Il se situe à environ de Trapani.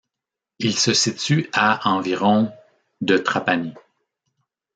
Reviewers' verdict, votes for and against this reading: accepted, 2, 1